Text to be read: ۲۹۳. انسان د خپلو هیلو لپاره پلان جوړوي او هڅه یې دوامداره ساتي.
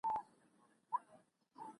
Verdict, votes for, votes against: rejected, 0, 2